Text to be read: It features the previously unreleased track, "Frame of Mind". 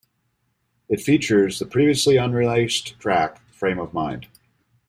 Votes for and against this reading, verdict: 2, 1, accepted